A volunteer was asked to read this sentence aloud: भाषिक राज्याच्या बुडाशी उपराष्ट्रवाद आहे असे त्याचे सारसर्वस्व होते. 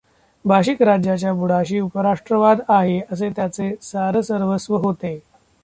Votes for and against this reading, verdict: 0, 2, rejected